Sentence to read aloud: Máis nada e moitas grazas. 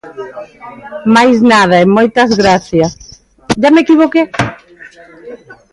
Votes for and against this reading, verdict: 1, 2, rejected